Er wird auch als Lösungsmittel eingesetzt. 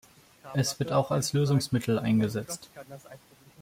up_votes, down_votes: 1, 2